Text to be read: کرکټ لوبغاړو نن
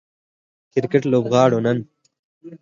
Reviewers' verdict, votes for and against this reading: accepted, 4, 0